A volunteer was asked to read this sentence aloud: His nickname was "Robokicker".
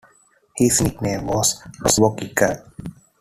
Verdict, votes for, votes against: accepted, 2, 1